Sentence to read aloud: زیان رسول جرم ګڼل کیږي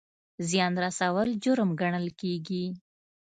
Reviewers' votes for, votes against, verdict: 2, 0, accepted